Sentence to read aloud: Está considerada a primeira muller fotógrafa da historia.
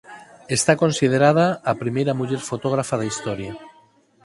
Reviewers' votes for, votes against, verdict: 4, 2, accepted